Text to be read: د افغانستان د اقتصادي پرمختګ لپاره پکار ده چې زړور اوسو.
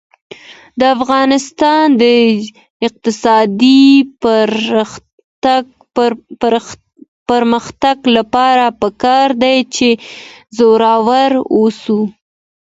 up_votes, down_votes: 2, 0